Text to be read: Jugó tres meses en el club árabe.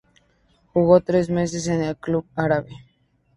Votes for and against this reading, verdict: 2, 0, accepted